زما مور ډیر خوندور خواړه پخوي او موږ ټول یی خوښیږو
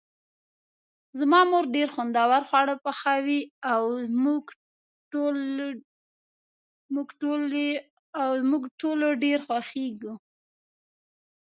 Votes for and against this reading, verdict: 1, 2, rejected